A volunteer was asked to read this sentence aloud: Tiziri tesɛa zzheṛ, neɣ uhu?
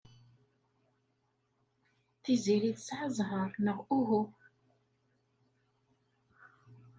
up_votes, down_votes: 1, 2